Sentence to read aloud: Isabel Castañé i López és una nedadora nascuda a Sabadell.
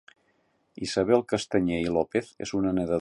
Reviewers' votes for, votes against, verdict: 0, 2, rejected